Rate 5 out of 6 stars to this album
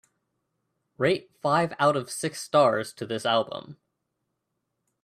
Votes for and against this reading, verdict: 0, 2, rejected